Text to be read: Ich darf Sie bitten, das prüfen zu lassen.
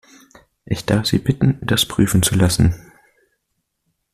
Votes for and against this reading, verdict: 2, 0, accepted